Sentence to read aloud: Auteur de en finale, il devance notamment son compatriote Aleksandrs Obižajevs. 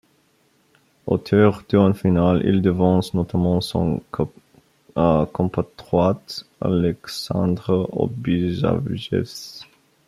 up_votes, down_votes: 0, 2